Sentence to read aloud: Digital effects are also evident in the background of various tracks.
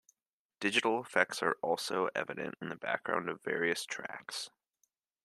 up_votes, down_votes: 2, 0